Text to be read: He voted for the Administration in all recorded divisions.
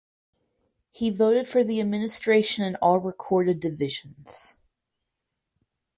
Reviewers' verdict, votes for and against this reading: accepted, 4, 0